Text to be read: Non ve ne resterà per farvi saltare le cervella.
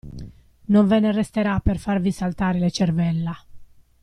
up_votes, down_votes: 2, 0